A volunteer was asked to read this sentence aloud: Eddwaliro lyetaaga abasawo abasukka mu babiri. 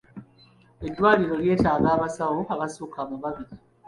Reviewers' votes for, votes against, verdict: 2, 0, accepted